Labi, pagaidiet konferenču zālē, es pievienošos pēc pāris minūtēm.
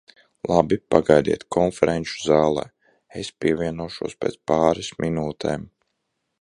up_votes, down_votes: 1, 2